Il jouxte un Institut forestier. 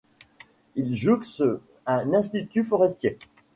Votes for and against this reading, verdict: 1, 2, rejected